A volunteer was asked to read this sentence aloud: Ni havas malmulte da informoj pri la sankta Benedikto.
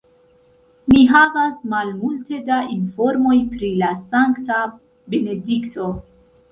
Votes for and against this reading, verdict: 2, 0, accepted